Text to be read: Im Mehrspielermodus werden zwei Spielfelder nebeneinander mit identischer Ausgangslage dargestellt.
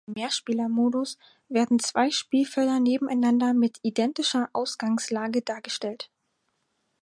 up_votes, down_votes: 2, 4